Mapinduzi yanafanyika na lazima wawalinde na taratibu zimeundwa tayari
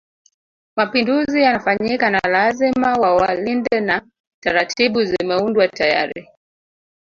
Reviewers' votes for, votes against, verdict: 0, 2, rejected